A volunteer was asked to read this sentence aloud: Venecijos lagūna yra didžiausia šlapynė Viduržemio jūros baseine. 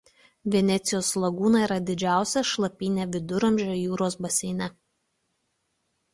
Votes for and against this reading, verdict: 1, 2, rejected